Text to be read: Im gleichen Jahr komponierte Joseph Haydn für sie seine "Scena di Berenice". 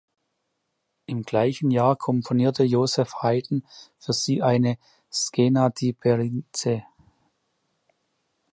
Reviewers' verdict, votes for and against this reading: rejected, 1, 2